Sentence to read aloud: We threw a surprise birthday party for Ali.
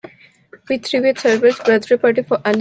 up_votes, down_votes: 0, 2